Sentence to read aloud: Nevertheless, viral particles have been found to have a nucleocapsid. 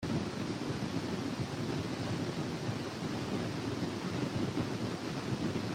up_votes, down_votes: 0, 2